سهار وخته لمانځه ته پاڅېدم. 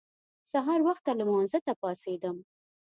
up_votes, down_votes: 2, 0